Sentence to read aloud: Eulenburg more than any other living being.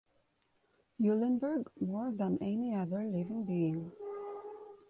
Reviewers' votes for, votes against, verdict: 2, 1, accepted